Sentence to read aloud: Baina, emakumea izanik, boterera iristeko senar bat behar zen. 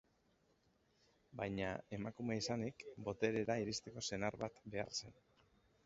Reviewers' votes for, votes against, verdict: 3, 0, accepted